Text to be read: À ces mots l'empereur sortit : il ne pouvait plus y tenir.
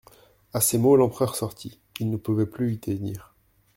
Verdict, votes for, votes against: rejected, 1, 2